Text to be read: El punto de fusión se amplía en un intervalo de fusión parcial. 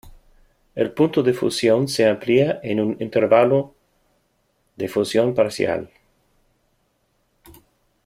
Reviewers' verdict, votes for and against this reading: rejected, 0, 2